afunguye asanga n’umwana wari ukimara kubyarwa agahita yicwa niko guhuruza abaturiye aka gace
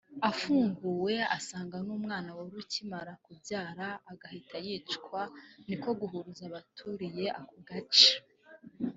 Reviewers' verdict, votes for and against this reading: rejected, 1, 2